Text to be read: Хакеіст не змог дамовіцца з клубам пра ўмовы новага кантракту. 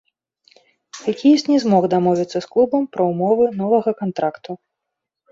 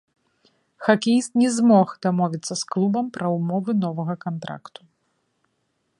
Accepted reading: first